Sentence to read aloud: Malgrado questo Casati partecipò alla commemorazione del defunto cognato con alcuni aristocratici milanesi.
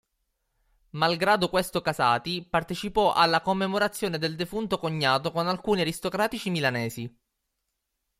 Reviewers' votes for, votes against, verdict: 3, 0, accepted